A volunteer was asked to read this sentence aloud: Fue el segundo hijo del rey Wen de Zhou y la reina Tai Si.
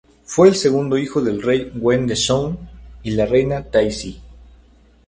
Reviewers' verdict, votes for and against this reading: rejected, 2, 2